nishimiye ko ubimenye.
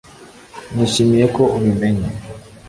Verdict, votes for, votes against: accepted, 2, 0